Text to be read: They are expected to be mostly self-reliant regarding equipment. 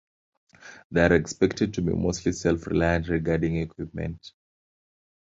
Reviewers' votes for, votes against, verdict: 2, 1, accepted